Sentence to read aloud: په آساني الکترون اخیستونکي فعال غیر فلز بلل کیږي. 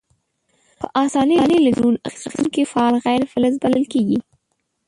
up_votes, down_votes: 1, 2